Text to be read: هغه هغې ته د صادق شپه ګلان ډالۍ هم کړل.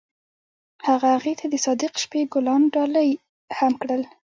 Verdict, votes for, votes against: accepted, 2, 0